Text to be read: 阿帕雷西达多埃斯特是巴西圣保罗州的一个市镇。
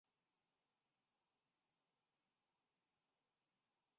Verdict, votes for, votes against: rejected, 0, 3